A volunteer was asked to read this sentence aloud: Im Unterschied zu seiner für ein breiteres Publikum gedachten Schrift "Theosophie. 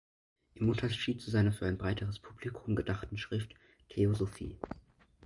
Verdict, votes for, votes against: rejected, 0, 2